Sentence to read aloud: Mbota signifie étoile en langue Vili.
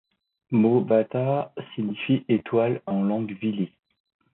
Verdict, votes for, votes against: accepted, 2, 0